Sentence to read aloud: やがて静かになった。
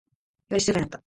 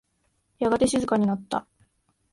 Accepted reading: second